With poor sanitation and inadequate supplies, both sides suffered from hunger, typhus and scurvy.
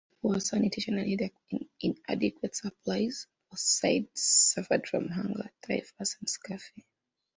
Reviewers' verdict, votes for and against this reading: rejected, 0, 2